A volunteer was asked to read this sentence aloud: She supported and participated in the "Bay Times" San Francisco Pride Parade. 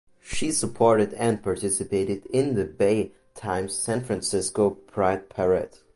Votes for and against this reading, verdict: 0, 2, rejected